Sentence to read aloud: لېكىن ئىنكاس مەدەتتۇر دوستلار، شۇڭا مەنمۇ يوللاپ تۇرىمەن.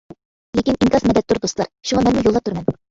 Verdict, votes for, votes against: rejected, 0, 2